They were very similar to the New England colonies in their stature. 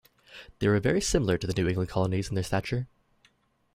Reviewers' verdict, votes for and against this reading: rejected, 0, 2